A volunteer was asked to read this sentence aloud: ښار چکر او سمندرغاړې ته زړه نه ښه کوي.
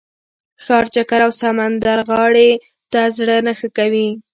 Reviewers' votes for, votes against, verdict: 1, 2, rejected